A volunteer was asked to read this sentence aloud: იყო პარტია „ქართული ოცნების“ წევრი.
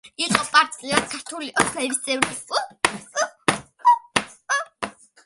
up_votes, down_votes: 1, 2